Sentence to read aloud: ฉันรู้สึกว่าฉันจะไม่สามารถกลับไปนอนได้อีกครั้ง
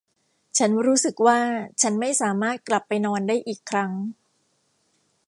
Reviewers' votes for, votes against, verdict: 0, 2, rejected